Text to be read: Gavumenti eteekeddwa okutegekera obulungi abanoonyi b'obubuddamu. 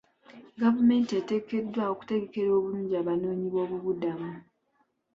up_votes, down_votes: 2, 0